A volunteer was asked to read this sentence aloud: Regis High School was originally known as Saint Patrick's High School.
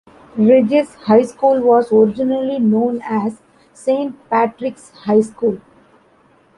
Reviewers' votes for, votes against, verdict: 2, 0, accepted